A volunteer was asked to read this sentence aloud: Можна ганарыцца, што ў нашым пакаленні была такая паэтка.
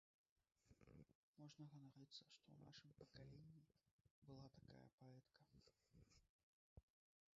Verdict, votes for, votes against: rejected, 1, 3